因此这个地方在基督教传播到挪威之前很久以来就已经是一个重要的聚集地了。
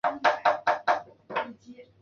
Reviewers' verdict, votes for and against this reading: rejected, 1, 2